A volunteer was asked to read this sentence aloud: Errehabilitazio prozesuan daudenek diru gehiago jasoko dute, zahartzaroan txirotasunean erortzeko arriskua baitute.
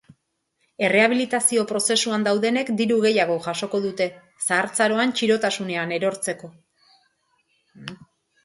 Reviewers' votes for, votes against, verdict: 0, 2, rejected